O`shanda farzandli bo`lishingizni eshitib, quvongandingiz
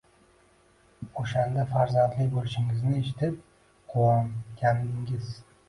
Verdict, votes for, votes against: accepted, 2, 1